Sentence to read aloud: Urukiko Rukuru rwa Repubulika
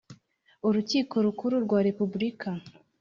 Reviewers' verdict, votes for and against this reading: accepted, 3, 0